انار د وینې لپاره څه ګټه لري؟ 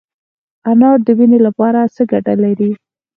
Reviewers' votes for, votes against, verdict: 4, 0, accepted